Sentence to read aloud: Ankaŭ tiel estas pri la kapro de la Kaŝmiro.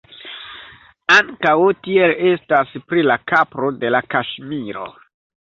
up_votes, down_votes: 1, 2